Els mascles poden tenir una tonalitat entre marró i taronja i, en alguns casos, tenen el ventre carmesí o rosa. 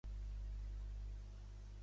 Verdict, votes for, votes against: rejected, 0, 2